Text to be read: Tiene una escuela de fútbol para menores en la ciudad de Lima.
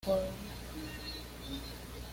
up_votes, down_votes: 1, 2